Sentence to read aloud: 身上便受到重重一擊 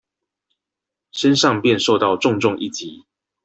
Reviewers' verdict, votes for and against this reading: accepted, 2, 0